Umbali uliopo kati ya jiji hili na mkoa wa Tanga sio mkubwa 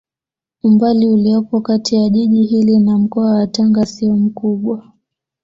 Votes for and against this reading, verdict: 2, 0, accepted